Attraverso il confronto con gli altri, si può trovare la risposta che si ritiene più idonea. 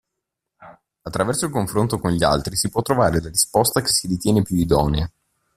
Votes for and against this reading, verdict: 1, 2, rejected